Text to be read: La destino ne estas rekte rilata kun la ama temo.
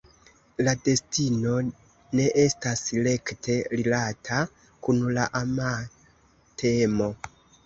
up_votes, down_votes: 2, 0